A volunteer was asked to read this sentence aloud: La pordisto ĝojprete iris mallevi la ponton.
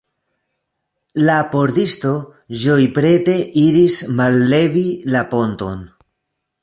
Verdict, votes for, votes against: accepted, 2, 0